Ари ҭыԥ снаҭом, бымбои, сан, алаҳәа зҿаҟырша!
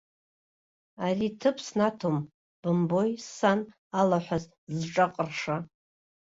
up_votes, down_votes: 0, 2